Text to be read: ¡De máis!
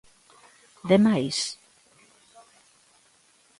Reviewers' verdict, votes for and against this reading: accepted, 2, 0